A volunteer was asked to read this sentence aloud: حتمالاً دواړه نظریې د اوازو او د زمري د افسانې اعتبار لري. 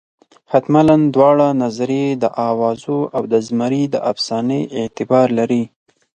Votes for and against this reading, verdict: 2, 4, rejected